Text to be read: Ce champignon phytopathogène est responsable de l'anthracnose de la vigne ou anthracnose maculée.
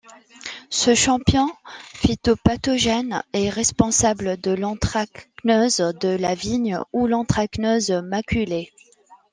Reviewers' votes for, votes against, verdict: 0, 2, rejected